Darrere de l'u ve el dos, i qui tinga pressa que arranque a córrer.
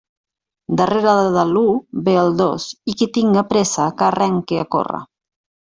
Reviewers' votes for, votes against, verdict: 1, 2, rejected